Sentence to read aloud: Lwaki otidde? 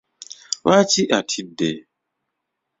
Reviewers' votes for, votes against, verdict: 0, 2, rejected